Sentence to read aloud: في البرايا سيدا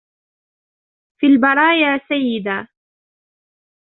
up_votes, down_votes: 1, 2